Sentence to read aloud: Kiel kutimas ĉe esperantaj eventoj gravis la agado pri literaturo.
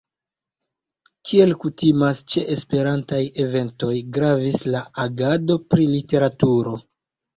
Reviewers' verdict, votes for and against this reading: accepted, 2, 1